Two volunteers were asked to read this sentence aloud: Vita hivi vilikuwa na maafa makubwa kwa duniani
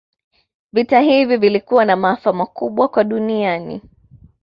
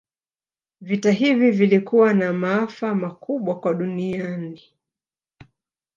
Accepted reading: first